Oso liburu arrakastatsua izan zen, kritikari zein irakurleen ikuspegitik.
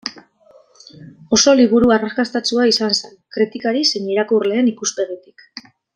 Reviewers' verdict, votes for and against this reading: accepted, 2, 1